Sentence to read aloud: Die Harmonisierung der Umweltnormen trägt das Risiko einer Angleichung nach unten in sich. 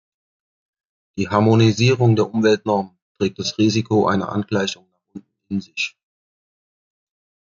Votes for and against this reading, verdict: 1, 2, rejected